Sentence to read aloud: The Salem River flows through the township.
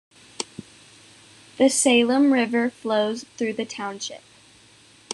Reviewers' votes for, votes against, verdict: 2, 0, accepted